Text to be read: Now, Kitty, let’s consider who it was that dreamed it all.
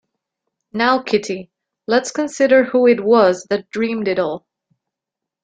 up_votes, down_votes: 2, 0